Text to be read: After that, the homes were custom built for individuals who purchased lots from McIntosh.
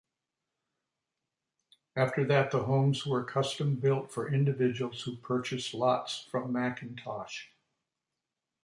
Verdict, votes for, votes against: rejected, 1, 2